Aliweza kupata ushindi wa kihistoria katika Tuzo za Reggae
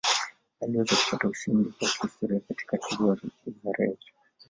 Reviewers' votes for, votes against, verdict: 1, 2, rejected